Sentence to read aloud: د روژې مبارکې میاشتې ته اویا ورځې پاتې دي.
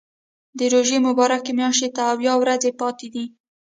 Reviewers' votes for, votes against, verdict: 1, 2, rejected